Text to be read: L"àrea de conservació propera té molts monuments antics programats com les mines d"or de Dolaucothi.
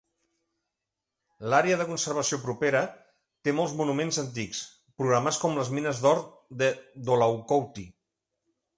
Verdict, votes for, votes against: accepted, 2, 0